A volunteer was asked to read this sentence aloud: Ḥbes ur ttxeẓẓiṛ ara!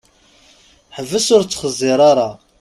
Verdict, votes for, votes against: accepted, 2, 0